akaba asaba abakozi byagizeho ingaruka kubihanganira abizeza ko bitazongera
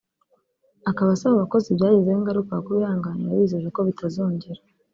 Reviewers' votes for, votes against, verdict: 2, 0, accepted